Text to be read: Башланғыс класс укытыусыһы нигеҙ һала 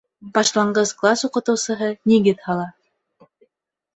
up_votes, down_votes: 2, 0